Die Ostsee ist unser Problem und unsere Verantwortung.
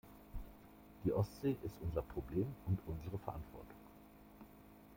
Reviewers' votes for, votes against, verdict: 2, 0, accepted